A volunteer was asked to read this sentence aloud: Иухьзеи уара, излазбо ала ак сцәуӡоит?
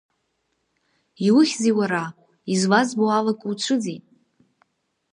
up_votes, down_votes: 2, 4